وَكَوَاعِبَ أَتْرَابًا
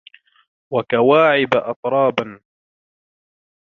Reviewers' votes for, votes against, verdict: 2, 0, accepted